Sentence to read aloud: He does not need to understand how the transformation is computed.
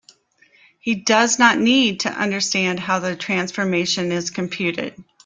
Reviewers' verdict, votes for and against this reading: accepted, 3, 0